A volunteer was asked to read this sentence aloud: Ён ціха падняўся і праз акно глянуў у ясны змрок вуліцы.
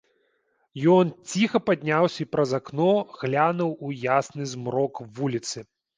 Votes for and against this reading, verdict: 2, 0, accepted